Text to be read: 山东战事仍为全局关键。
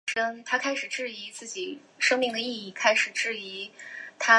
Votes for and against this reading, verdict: 1, 2, rejected